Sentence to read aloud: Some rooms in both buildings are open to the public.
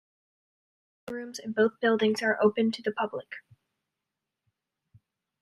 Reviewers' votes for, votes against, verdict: 0, 2, rejected